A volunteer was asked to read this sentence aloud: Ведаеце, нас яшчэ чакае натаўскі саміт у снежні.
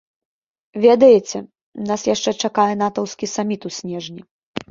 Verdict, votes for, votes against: rejected, 0, 2